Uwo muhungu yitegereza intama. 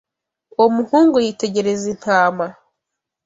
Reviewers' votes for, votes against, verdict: 2, 0, accepted